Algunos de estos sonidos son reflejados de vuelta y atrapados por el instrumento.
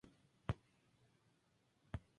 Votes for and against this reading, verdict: 0, 4, rejected